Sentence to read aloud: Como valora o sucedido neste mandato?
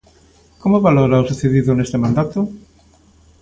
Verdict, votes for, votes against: accepted, 2, 0